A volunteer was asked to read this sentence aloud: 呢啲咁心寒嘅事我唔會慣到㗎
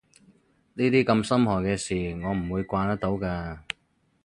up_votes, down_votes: 0, 2